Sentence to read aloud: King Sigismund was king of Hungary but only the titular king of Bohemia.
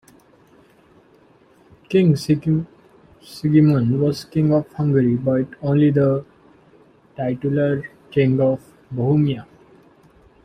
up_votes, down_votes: 0, 2